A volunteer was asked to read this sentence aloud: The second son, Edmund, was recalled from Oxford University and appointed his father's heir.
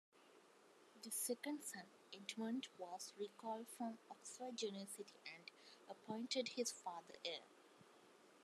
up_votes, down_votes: 1, 2